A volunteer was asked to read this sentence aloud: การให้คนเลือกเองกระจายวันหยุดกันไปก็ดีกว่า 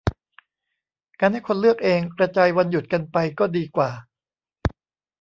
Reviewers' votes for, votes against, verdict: 2, 1, accepted